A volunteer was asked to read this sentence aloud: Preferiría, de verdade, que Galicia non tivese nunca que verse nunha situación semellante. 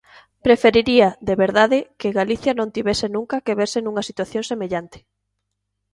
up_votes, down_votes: 2, 0